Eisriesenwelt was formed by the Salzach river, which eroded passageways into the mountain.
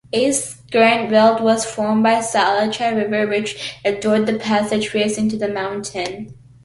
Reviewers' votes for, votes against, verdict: 0, 2, rejected